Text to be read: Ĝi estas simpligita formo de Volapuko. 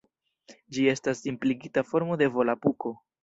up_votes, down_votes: 2, 1